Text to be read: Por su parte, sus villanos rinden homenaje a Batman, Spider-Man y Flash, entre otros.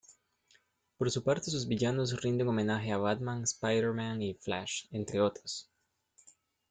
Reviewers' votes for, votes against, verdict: 2, 0, accepted